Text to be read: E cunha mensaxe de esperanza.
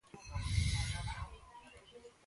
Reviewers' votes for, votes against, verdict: 0, 2, rejected